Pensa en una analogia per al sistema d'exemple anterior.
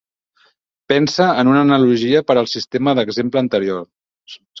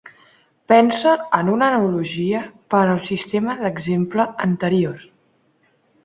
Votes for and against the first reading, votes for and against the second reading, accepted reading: 4, 0, 0, 2, first